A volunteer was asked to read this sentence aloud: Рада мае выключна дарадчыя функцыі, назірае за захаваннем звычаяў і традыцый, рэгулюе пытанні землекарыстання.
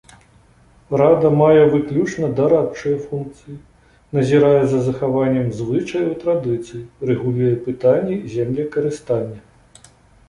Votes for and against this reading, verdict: 2, 0, accepted